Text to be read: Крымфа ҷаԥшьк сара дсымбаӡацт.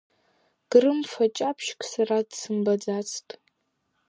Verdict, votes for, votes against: accepted, 5, 0